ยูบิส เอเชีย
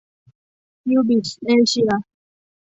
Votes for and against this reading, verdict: 2, 0, accepted